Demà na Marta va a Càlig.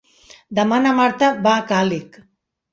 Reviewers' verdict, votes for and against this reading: accepted, 3, 0